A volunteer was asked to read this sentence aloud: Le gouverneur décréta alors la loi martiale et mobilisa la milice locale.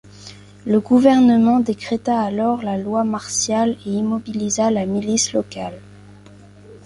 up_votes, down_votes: 0, 2